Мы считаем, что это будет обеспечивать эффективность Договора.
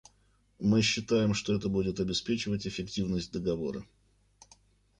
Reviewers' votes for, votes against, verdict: 0, 2, rejected